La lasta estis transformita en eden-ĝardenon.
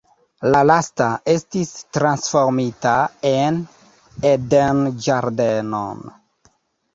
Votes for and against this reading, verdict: 1, 2, rejected